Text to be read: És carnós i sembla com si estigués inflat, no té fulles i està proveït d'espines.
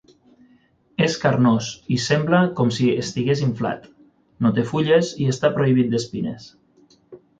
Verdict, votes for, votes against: rejected, 6, 9